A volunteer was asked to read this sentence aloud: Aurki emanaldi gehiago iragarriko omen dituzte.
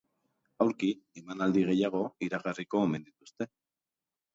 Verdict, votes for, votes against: rejected, 1, 3